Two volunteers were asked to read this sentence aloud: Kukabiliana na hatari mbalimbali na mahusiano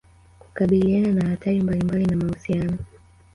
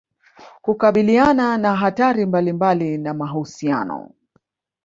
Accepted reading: first